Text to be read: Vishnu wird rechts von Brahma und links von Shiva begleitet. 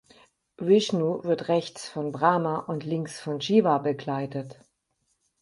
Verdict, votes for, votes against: accepted, 4, 0